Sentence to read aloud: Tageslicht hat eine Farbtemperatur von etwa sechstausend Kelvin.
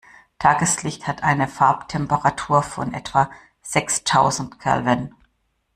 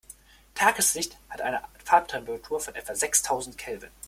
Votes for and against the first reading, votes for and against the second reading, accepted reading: 2, 0, 1, 2, first